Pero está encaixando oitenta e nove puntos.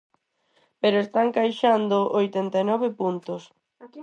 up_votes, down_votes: 2, 4